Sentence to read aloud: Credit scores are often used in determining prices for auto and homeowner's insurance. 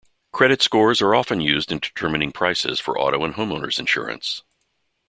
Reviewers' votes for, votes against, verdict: 2, 0, accepted